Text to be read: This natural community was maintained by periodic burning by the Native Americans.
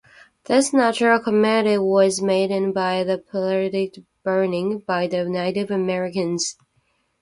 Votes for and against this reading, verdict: 0, 2, rejected